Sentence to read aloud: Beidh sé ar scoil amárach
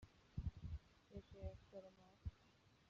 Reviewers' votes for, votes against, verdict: 0, 2, rejected